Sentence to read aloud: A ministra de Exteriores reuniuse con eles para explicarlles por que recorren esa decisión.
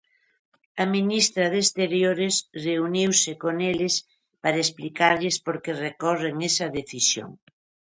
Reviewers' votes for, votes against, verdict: 2, 0, accepted